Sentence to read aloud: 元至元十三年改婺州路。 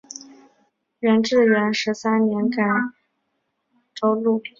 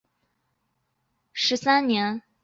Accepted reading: first